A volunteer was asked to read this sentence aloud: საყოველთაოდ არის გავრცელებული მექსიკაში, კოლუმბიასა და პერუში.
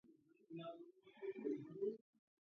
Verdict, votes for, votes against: rejected, 0, 2